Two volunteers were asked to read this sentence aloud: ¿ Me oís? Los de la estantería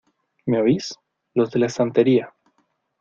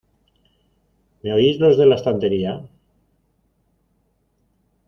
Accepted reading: first